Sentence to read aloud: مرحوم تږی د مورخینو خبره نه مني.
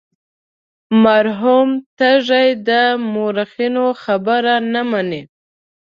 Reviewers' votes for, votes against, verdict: 2, 0, accepted